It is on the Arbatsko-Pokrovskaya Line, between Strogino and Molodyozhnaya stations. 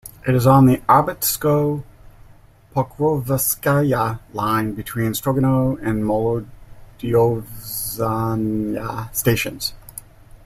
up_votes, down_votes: 0, 2